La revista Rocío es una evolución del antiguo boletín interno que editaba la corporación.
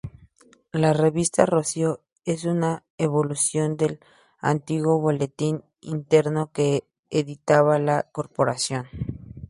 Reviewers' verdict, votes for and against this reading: accepted, 2, 0